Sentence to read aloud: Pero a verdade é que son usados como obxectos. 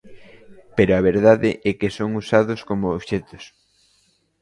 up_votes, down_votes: 1, 2